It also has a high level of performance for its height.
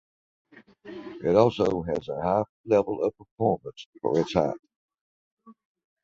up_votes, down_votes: 0, 2